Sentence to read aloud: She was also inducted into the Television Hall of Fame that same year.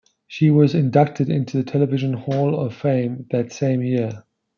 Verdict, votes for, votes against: rejected, 0, 2